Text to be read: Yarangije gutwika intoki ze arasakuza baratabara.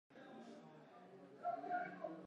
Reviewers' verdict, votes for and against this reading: rejected, 0, 2